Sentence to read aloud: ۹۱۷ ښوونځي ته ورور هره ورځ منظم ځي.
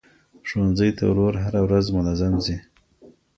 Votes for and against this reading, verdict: 0, 2, rejected